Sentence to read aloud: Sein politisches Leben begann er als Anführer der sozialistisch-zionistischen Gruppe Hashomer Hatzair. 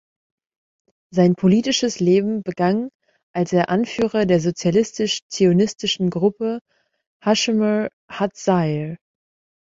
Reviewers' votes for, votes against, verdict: 0, 2, rejected